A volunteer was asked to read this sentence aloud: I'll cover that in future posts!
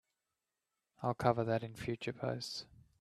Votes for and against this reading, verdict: 3, 0, accepted